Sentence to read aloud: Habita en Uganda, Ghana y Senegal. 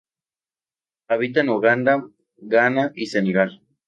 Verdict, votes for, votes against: rejected, 0, 2